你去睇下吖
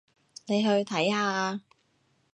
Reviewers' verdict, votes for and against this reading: accepted, 2, 0